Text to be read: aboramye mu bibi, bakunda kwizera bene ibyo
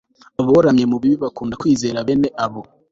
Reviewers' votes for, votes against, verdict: 2, 0, accepted